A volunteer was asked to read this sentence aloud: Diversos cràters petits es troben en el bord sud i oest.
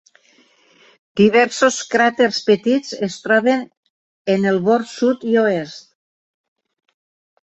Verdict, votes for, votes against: accepted, 4, 0